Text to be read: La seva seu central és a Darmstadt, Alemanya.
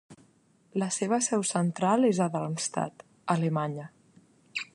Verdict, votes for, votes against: accepted, 2, 1